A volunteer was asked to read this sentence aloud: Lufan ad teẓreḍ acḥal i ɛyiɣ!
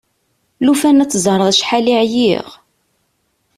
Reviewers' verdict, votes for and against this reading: accepted, 2, 0